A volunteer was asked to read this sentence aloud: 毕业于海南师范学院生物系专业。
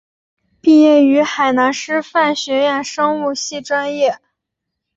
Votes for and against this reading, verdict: 4, 0, accepted